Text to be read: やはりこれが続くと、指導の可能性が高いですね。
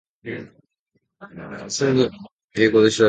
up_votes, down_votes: 0, 2